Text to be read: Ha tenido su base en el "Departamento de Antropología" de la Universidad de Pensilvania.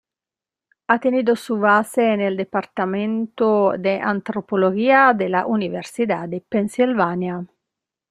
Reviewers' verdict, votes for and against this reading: rejected, 1, 2